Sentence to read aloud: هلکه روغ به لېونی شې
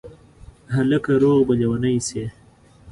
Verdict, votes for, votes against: accepted, 2, 0